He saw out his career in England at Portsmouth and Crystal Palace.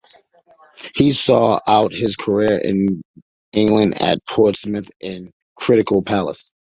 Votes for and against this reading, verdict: 0, 2, rejected